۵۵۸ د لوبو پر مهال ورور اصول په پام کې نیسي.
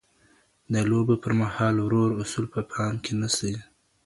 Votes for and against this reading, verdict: 0, 2, rejected